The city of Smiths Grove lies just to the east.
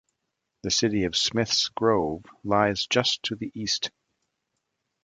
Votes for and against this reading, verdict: 2, 0, accepted